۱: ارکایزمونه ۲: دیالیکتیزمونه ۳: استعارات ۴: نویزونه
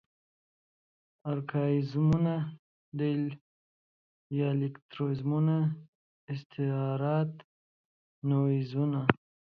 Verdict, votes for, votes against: rejected, 0, 2